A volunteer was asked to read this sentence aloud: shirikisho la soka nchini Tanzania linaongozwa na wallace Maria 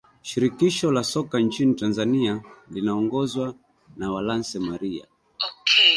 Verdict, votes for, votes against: rejected, 1, 2